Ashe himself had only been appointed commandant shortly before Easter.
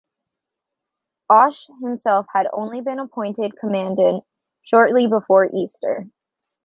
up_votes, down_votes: 2, 0